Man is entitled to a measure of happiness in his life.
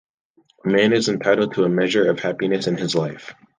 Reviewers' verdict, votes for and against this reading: rejected, 1, 2